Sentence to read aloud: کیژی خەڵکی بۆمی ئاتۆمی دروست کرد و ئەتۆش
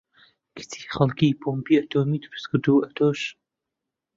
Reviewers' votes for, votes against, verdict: 0, 2, rejected